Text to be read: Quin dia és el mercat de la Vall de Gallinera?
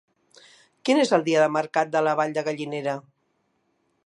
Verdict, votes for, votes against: rejected, 0, 2